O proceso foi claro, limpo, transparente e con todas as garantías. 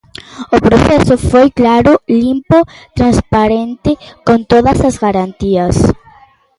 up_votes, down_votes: 0, 2